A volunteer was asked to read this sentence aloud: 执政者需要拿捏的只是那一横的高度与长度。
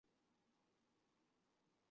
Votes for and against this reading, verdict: 1, 2, rejected